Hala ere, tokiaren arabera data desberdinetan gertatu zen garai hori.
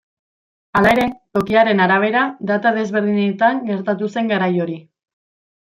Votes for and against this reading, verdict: 1, 2, rejected